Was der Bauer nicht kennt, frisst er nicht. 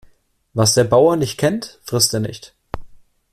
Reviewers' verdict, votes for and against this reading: accepted, 2, 0